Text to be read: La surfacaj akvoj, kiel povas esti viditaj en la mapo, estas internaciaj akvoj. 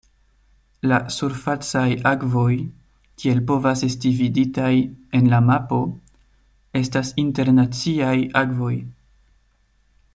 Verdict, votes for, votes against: accepted, 2, 0